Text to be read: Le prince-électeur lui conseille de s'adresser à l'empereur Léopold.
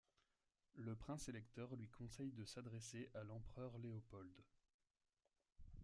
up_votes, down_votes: 0, 2